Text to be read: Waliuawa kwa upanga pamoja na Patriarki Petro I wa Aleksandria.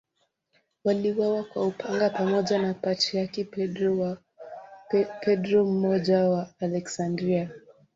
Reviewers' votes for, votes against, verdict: 2, 0, accepted